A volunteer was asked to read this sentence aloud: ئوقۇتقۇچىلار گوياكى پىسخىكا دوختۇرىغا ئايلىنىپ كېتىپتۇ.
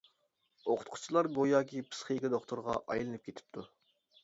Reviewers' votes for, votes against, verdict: 2, 0, accepted